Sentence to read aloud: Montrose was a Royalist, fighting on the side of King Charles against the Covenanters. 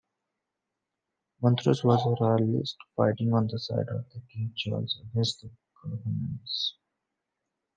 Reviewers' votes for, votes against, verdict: 0, 2, rejected